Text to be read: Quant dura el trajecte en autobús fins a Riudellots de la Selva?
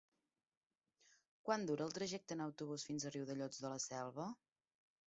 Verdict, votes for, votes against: accepted, 3, 1